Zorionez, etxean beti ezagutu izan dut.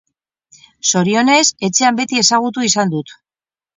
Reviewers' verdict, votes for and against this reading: accepted, 2, 0